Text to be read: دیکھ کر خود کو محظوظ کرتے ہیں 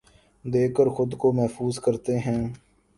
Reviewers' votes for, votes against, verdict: 3, 1, accepted